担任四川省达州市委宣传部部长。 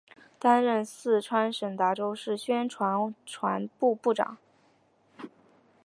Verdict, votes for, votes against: accepted, 2, 1